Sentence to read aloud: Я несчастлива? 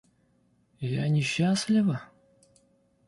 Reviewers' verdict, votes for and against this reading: accepted, 2, 0